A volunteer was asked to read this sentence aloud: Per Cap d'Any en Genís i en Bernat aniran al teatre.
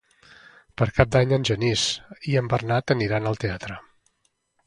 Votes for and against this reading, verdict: 4, 0, accepted